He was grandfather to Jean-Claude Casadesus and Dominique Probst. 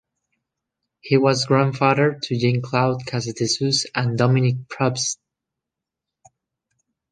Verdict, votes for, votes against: rejected, 1, 2